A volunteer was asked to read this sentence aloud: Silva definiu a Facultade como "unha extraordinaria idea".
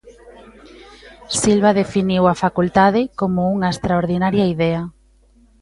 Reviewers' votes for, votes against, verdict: 0, 2, rejected